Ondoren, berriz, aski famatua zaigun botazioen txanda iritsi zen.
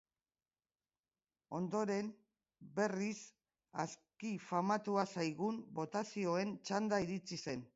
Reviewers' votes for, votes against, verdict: 2, 1, accepted